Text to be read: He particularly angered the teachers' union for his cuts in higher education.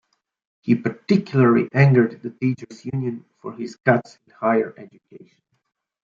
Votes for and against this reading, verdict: 0, 2, rejected